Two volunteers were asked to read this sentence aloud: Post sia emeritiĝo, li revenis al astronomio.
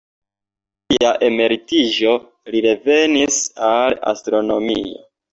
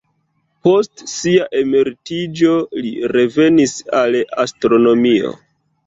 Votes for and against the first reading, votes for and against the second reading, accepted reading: 2, 1, 0, 2, first